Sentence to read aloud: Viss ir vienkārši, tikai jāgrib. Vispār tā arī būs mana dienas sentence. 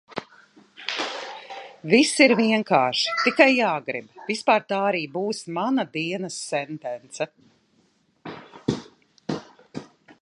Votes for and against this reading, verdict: 2, 0, accepted